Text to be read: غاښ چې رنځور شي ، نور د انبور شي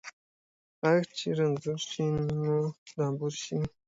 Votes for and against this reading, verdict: 2, 0, accepted